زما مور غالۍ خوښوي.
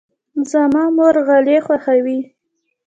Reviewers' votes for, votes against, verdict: 2, 0, accepted